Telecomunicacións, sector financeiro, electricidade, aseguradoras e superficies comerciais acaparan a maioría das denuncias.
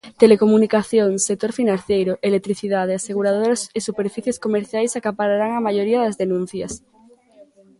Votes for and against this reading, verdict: 0, 2, rejected